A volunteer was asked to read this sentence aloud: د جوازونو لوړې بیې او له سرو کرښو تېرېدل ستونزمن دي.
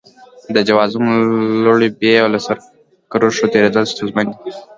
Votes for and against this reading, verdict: 3, 0, accepted